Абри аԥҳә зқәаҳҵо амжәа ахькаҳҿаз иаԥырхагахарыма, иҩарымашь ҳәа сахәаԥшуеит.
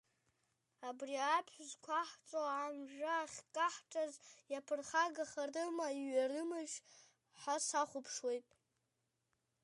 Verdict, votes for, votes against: accepted, 2, 0